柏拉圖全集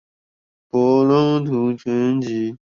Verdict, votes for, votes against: accepted, 2, 0